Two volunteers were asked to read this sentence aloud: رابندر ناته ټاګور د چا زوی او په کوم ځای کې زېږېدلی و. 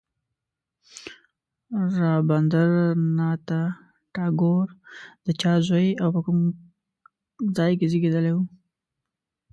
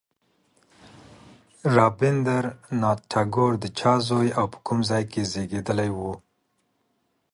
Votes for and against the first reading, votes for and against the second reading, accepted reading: 1, 2, 2, 0, second